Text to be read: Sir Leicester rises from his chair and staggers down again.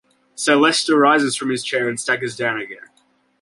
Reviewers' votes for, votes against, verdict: 2, 0, accepted